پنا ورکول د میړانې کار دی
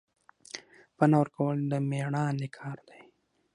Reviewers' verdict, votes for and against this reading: accepted, 6, 0